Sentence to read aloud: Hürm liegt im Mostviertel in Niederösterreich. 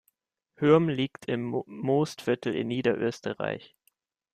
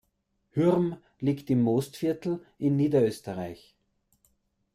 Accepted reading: second